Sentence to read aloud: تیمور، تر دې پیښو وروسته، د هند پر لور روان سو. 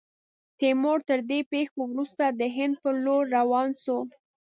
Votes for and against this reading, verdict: 2, 0, accepted